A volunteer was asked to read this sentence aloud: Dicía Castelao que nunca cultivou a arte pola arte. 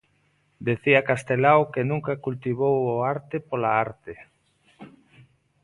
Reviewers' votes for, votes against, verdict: 0, 2, rejected